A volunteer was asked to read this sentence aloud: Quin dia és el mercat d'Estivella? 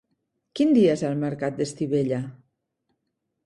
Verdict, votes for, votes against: accepted, 3, 0